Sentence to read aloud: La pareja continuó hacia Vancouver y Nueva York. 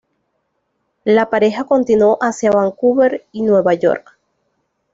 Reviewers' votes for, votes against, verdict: 2, 0, accepted